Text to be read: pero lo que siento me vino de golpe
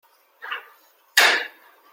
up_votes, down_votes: 0, 2